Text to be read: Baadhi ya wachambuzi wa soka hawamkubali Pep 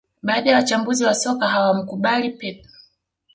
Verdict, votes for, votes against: accepted, 2, 0